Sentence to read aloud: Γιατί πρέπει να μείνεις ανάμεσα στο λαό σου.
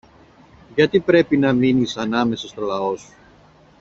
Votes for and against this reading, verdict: 2, 1, accepted